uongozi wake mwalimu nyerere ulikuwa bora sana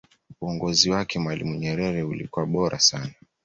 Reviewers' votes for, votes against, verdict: 2, 0, accepted